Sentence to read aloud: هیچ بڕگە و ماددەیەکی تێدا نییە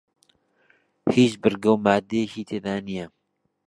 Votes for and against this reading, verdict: 2, 0, accepted